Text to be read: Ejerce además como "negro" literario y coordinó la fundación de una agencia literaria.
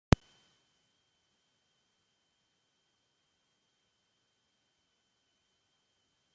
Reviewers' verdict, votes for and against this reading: rejected, 0, 2